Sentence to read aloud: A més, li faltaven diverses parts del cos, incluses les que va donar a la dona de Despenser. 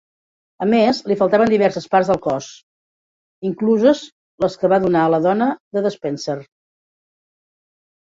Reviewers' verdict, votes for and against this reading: accepted, 2, 1